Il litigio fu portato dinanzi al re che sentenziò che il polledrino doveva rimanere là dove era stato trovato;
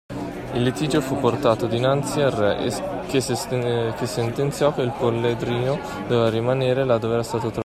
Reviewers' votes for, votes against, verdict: 0, 2, rejected